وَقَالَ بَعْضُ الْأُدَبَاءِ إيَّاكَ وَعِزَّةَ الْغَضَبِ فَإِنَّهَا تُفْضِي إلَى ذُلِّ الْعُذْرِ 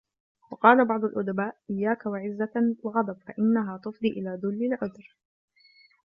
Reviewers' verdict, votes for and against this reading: rejected, 1, 2